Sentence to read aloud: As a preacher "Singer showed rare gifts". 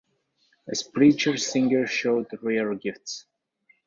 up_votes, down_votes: 1, 3